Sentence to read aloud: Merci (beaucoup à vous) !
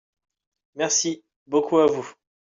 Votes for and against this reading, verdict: 1, 2, rejected